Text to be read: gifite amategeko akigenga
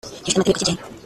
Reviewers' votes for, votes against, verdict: 0, 2, rejected